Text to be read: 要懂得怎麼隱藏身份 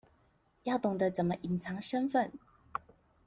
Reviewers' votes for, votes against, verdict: 2, 0, accepted